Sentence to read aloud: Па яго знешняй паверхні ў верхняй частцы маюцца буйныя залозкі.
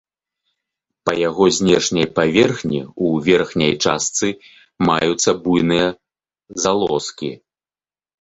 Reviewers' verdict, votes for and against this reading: accepted, 2, 0